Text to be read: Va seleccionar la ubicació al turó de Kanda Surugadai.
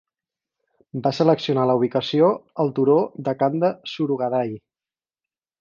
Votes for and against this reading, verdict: 4, 0, accepted